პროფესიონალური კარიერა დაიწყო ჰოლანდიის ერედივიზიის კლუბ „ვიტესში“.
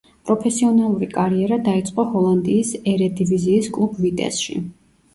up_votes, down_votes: 2, 0